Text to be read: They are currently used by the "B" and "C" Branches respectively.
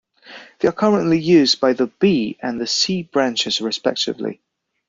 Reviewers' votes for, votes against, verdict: 0, 2, rejected